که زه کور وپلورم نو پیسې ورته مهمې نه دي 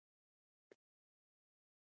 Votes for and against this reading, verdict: 2, 0, accepted